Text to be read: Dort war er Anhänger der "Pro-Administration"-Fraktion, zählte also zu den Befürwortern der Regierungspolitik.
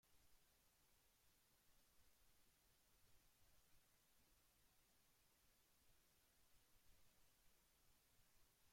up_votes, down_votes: 0, 2